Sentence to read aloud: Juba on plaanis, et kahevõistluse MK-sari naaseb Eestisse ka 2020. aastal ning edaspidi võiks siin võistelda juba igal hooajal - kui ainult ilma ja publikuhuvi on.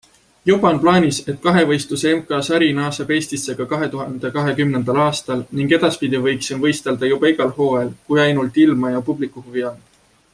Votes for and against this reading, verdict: 0, 2, rejected